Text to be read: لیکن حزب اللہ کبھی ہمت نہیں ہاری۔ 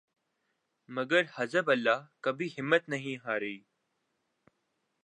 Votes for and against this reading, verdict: 1, 2, rejected